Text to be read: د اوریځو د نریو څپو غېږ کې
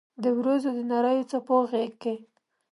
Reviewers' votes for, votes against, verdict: 2, 0, accepted